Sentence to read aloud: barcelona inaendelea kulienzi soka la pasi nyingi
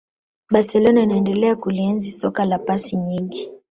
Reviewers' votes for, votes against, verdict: 1, 2, rejected